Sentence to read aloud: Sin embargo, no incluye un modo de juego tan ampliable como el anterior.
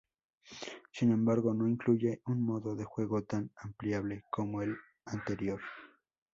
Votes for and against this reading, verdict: 2, 0, accepted